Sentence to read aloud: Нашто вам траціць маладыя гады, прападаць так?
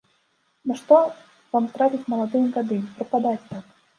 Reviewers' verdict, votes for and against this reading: rejected, 1, 2